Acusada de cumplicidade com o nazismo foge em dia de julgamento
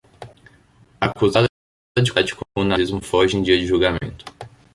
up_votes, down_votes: 0, 2